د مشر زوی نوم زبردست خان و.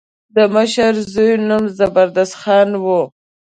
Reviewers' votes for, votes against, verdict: 2, 0, accepted